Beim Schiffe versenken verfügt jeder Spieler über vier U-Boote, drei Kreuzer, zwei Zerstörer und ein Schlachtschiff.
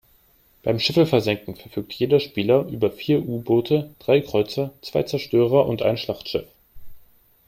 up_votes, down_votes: 3, 0